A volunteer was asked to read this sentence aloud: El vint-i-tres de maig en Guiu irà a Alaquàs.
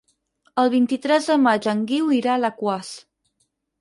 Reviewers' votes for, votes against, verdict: 4, 0, accepted